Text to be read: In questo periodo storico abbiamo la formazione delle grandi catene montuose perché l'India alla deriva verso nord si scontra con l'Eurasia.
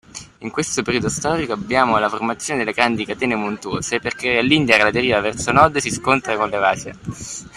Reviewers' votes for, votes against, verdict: 2, 1, accepted